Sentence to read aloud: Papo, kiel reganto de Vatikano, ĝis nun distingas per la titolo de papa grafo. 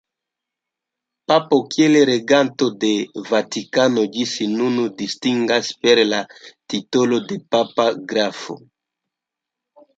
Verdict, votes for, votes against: accepted, 2, 1